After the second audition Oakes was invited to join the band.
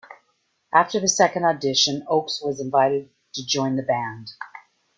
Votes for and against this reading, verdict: 2, 0, accepted